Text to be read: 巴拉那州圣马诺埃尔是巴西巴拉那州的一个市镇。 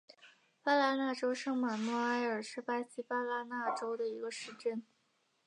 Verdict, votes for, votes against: accepted, 5, 4